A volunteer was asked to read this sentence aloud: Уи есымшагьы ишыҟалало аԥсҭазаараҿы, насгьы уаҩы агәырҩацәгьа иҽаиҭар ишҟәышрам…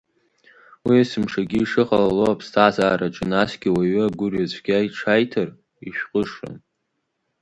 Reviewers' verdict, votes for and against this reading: accepted, 2, 0